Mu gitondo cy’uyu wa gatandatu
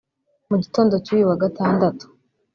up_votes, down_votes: 1, 2